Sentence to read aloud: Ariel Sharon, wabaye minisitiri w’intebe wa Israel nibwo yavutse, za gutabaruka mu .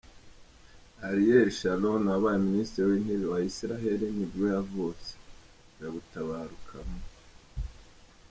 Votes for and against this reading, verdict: 2, 3, rejected